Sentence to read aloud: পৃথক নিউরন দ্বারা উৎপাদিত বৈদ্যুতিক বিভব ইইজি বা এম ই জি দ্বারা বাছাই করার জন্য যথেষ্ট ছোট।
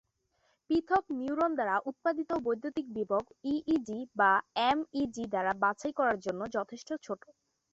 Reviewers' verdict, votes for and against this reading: accepted, 3, 0